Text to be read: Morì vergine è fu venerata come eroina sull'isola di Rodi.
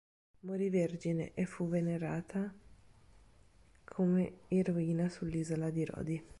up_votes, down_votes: 3, 0